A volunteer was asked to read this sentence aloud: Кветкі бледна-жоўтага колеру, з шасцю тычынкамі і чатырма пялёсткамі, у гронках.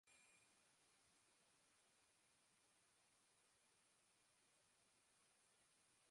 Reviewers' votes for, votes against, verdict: 0, 2, rejected